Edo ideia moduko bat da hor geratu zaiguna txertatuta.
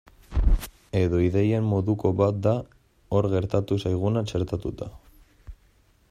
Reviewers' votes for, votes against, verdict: 0, 2, rejected